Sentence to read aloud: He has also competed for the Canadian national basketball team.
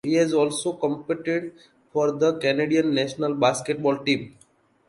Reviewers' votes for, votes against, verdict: 2, 0, accepted